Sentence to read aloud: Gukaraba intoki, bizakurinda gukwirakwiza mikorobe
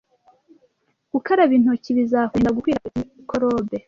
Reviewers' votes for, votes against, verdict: 1, 2, rejected